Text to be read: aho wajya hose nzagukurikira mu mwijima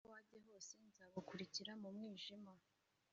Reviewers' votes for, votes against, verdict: 1, 2, rejected